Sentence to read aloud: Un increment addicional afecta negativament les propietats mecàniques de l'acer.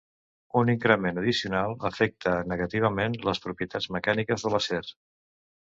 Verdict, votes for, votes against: accepted, 2, 0